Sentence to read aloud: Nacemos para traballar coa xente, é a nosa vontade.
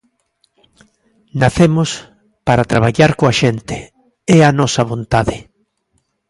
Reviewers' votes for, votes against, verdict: 2, 0, accepted